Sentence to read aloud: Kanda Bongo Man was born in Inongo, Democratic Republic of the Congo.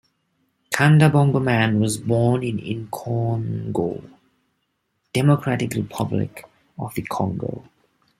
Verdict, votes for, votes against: accepted, 2, 0